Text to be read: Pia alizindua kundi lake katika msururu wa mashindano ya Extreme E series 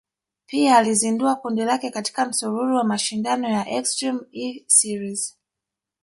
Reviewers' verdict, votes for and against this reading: rejected, 1, 2